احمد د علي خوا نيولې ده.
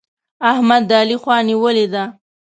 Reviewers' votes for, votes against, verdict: 2, 0, accepted